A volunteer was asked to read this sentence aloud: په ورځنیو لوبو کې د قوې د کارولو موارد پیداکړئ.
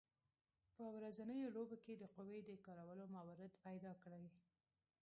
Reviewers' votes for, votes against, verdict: 0, 2, rejected